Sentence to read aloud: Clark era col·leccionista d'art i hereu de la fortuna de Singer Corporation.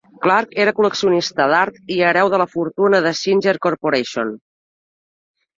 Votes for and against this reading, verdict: 3, 0, accepted